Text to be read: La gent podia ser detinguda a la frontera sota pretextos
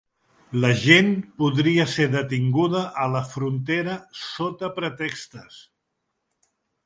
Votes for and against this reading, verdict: 0, 2, rejected